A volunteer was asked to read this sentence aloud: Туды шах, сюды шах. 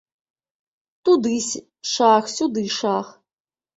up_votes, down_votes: 0, 3